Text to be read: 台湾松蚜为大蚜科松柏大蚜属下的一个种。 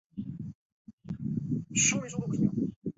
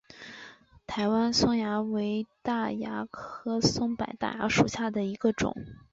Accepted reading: second